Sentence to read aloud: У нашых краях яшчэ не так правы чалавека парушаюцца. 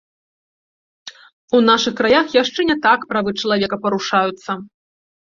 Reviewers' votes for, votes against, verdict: 2, 0, accepted